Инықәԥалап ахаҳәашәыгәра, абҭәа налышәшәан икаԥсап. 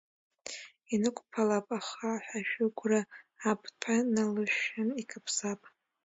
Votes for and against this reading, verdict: 1, 2, rejected